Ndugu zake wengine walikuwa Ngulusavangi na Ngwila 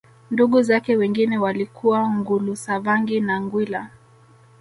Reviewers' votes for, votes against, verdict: 1, 2, rejected